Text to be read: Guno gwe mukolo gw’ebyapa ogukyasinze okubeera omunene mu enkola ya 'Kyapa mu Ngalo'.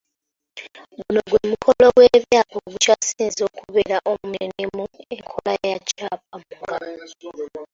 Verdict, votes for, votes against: rejected, 1, 2